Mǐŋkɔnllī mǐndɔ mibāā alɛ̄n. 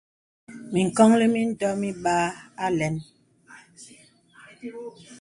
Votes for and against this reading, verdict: 2, 0, accepted